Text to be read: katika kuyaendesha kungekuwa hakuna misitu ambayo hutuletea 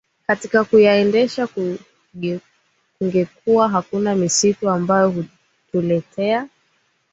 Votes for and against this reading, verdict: 1, 4, rejected